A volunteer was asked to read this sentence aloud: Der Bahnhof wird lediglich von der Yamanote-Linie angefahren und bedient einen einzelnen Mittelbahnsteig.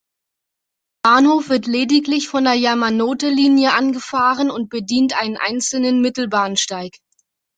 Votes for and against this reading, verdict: 0, 2, rejected